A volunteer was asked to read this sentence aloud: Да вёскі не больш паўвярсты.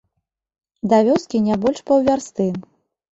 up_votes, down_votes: 2, 0